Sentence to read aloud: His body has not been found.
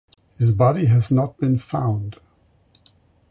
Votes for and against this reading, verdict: 4, 0, accepted